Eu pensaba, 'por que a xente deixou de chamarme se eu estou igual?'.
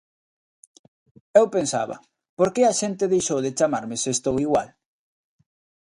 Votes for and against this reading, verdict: 1, 2, rejected